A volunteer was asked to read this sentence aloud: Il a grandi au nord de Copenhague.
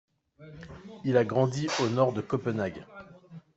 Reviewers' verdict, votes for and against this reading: rejected, 0, 2